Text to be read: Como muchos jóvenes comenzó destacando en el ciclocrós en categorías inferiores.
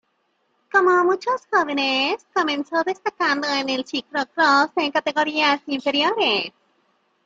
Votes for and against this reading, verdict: 1, 2, rejected